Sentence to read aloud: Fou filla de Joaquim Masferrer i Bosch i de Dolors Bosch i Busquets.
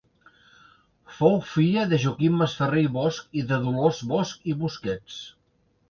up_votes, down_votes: 2, 0